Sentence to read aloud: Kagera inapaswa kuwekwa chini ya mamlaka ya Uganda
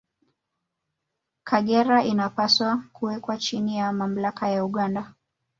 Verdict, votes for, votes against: rejected, 1, 2